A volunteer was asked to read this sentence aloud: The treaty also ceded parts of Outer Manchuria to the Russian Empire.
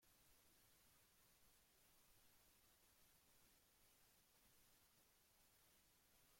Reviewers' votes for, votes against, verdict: 0, 2, rejected